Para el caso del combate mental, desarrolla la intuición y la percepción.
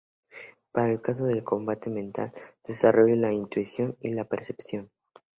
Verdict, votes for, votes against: accepted, 4, 0